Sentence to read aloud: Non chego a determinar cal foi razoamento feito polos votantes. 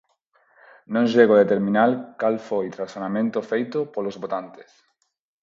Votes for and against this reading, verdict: 0, 4, rejected